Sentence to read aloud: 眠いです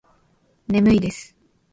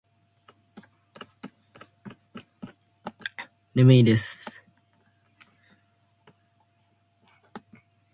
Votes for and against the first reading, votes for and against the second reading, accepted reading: 2, 0, 1, 2, first